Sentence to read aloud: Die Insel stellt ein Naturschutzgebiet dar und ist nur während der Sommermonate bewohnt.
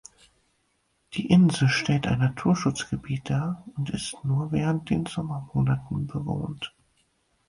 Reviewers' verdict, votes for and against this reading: rejected, 0, 4